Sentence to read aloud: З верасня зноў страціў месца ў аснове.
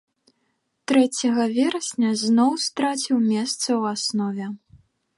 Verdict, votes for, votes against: rejected, 0, 2